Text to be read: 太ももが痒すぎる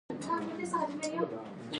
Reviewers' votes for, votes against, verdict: 1, 3, rejected